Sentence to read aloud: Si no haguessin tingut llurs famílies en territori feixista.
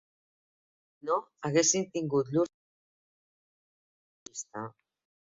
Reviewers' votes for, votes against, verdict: 0, 2, rejected